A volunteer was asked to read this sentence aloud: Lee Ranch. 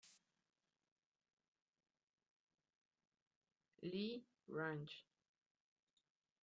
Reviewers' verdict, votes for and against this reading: accepted, 2, 0